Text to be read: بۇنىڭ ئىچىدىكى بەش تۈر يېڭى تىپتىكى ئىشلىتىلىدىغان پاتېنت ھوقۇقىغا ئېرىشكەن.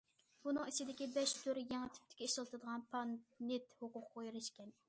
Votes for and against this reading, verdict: 0, 2, rejected